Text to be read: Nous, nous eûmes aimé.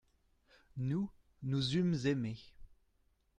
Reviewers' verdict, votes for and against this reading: accepted, 2, 0